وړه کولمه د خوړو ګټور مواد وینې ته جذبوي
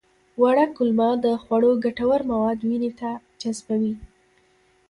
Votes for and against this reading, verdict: 2, 0, accepted